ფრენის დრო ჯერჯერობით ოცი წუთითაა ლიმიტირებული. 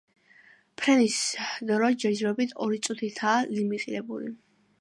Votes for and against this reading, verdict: 0, 2, rejected